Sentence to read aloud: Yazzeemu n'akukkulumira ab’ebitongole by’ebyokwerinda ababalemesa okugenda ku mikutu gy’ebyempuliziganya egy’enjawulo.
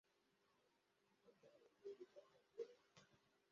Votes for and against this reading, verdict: 0, 2, rejected